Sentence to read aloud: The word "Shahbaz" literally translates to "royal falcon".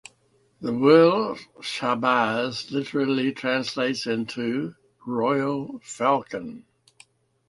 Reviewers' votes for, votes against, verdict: 0, 2, rejected